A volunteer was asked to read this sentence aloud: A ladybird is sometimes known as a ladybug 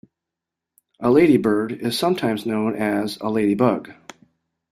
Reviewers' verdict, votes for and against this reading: accepted, 2, 0